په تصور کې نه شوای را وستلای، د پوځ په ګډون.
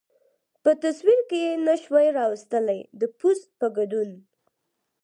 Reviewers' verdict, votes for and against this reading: accepted, 4, 0